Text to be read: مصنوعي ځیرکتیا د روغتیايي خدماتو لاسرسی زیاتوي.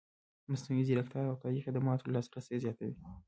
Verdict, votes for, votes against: accepted, 2, 1